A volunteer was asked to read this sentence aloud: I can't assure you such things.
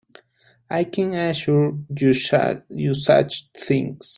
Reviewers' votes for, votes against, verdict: 0, 2, rejected